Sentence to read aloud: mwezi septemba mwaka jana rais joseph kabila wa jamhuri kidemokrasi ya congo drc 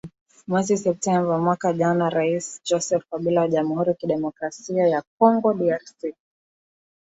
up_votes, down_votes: 2, 0